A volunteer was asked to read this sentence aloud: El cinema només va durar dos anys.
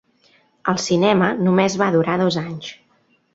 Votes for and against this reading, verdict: 3, 0, accepted